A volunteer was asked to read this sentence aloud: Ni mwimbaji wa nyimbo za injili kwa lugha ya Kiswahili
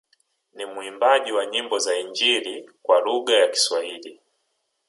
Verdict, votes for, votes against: rejected, 1, 2